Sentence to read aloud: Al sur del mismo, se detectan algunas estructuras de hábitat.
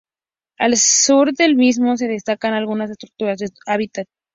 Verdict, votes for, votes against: rejected, 0, 2